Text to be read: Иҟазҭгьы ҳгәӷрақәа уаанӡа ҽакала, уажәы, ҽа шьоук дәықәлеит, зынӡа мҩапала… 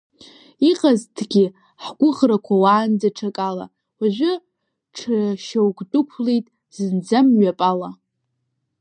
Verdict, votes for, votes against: rejected, 1, 2